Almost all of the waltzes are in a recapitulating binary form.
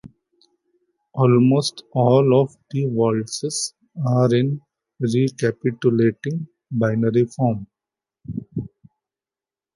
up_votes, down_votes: 2, 0